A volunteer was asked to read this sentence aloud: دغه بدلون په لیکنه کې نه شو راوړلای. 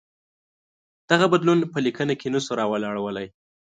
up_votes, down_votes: 1, 2